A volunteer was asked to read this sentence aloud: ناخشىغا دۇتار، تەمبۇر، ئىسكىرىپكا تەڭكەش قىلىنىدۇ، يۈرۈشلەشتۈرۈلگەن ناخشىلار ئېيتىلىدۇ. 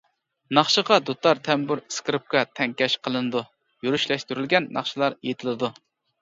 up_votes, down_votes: 2, 1